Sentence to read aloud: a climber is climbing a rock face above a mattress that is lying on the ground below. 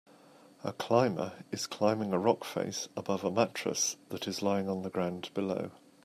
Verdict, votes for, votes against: accepted, 2, 0